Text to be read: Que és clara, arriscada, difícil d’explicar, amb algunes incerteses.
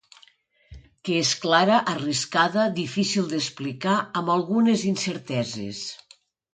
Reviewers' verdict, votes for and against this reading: accepted, 2, 0